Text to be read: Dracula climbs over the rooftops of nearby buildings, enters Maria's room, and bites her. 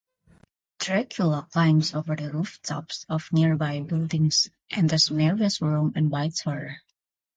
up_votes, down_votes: 0, 2